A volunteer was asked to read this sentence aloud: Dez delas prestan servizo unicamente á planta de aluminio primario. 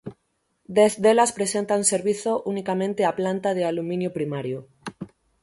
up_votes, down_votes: 3, 6